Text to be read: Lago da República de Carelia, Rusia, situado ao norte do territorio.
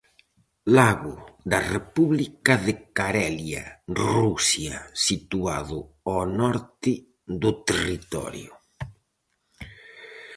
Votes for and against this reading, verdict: 4, 0, accepted